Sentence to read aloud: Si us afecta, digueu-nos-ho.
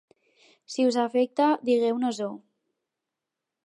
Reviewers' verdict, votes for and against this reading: accepted, 4, 0